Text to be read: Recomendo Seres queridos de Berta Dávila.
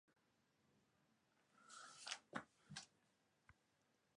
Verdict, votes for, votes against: rejected, 0, 2